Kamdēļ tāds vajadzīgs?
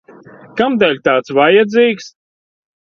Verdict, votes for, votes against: accepted, 2, 0